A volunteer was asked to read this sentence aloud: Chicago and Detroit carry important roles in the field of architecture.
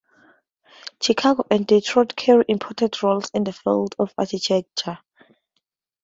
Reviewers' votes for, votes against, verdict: 2, 0, accepted